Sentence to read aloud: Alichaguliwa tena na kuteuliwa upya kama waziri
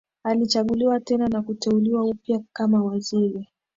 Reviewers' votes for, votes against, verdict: 8, 0, accepted